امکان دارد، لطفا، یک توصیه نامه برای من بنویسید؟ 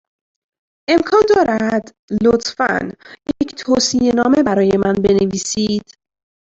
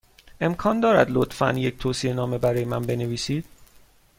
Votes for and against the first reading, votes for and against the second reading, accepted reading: 1, 2, 2, 0, second